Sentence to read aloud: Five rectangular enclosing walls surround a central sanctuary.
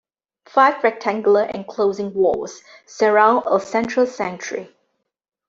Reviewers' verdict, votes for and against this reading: rejected, 1, 2